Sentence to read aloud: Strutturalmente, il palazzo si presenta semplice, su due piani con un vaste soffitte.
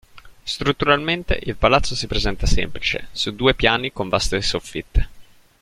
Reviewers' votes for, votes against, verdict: 0, 2, rejected